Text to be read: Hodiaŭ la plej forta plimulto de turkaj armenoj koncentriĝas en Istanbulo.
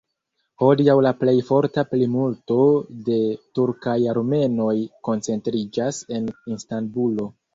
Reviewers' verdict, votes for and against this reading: accepted, 2, 0